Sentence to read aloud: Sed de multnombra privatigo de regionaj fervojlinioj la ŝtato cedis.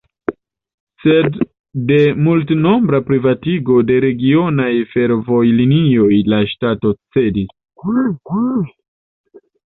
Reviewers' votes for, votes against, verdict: 1, 2, rejected